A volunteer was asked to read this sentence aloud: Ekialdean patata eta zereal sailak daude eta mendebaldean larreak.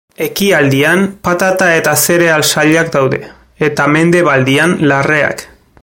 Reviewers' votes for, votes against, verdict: 1, 2, rejected